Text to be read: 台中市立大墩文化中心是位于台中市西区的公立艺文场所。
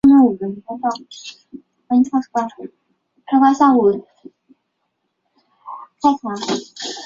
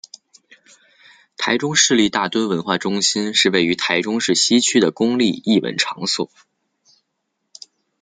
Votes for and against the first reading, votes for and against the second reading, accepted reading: 0, 2, 2, 0, second